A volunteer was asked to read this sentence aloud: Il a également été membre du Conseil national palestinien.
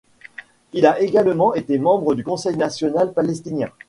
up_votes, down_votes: 2, 1